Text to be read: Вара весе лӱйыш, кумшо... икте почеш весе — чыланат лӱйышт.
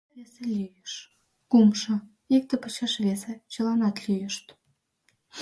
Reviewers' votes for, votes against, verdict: 0, 2, rejected